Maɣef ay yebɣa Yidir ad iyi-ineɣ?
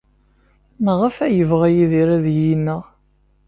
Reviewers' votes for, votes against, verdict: 2, 0, accepted